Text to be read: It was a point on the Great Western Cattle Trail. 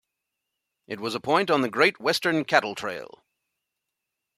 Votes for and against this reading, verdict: 2, 0, accepted